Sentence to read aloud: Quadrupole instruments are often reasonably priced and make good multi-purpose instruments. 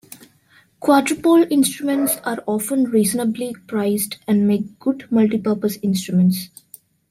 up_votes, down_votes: 1, 2